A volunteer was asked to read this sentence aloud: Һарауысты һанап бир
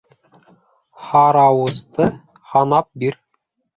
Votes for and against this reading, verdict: 2, 0, accepted